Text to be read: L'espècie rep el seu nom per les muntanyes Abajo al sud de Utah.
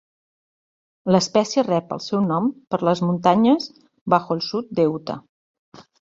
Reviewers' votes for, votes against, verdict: 1, 3, rejected